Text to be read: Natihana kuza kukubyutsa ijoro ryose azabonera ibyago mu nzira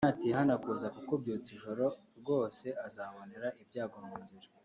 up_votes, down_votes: 2, 0